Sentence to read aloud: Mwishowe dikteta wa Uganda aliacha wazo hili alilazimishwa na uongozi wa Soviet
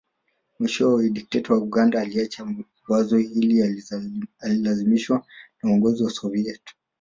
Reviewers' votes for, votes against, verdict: 3, 1, accepted